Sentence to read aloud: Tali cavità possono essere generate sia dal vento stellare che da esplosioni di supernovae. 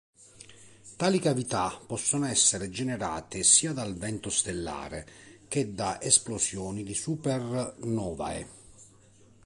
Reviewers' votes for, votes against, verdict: 1, 3, rejected